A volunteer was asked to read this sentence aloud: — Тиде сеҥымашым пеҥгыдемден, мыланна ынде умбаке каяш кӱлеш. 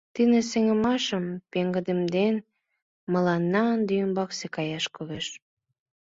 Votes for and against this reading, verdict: 1, 2, rejected